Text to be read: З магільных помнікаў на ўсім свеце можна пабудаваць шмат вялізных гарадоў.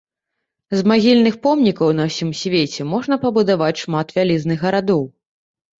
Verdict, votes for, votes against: accepted, 3, 0